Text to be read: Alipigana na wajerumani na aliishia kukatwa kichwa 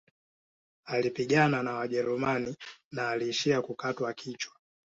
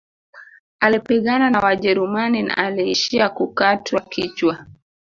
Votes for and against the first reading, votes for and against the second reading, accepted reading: 3, 1, 1, 2, first